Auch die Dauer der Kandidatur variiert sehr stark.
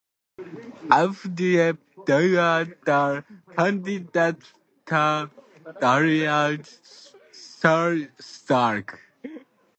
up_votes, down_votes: 0, 2